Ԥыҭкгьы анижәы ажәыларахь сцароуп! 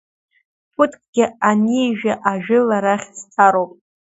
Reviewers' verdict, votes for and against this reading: accepted, 2, 0